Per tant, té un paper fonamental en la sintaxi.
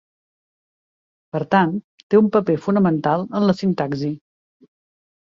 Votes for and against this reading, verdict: 2, 0, accepted